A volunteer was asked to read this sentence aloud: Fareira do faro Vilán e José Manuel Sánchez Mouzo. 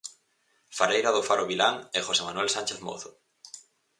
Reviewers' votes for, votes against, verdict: 4, 0, accepted